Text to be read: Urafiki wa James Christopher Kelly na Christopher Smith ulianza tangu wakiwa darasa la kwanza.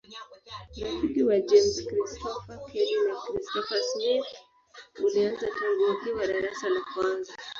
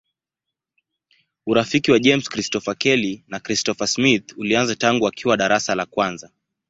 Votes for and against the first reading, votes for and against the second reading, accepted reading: 4, 7, 2, 0, second